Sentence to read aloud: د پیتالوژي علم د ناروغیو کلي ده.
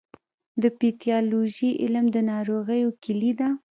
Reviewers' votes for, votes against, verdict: 1, 2, rejected